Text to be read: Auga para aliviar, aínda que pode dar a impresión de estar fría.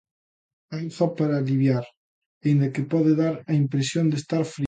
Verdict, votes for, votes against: rejected, 0, 2